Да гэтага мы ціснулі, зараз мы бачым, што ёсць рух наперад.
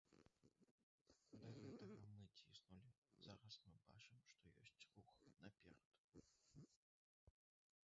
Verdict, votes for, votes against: rejected, 0, 2